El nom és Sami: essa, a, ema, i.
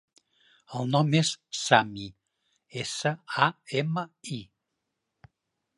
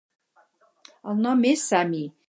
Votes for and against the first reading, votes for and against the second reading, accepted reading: 2, 0, 0, 4, first